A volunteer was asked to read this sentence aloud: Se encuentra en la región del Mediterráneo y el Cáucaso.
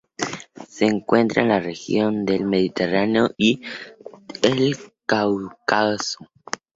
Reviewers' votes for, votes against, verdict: 0, 2, rejected